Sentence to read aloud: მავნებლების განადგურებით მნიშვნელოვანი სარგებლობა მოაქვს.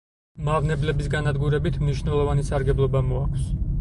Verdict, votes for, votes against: accepted, 4, 0